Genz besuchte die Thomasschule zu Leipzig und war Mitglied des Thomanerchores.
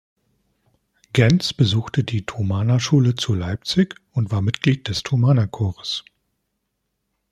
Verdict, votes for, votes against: rejected, 0, 2